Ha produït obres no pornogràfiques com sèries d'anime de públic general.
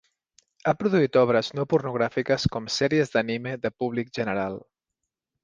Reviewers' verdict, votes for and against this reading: accepted, 3, 0